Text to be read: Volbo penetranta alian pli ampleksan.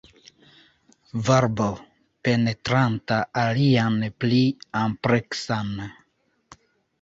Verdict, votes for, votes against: rejected, 1, 2